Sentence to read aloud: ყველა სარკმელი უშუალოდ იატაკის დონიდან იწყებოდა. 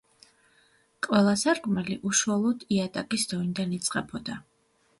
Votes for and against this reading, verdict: 2, 0, accepted